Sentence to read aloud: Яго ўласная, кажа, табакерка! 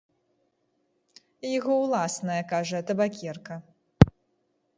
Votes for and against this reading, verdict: 0, 2, rejected